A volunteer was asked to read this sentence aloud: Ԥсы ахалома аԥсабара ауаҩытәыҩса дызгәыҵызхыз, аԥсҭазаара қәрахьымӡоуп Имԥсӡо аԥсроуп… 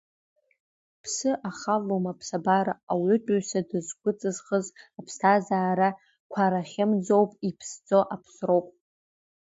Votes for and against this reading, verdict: 0, 2, rejected